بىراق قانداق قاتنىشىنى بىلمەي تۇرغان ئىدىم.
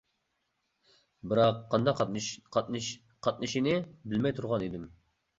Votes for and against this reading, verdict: 0, 2, rejected